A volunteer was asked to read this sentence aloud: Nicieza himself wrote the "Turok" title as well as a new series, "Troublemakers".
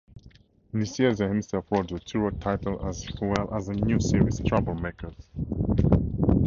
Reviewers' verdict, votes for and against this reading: rejected, 2, 4